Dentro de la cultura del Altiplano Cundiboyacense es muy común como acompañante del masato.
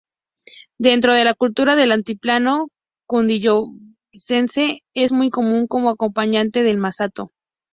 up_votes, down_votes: 0, 2